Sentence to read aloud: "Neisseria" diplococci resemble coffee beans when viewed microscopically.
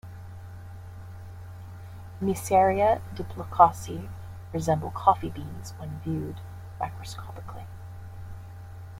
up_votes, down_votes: 1, 2